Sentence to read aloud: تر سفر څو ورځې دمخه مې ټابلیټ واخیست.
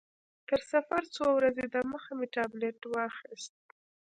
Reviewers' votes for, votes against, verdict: 1, 2, rejected